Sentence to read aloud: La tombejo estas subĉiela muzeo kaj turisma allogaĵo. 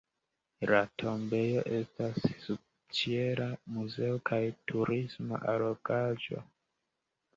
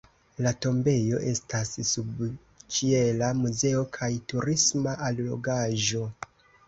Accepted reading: second